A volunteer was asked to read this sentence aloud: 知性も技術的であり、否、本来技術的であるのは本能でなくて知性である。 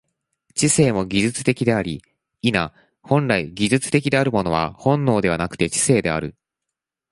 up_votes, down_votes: 1, 2